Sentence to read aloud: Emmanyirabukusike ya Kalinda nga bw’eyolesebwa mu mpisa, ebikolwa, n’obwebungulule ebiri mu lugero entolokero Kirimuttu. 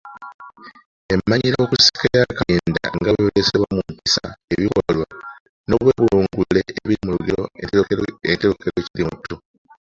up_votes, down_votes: 0, 2